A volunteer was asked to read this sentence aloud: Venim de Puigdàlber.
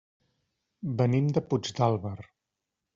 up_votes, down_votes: 2, 0